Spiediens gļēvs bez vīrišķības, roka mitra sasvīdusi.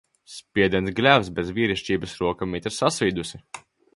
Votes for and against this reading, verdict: 1, 2, rejected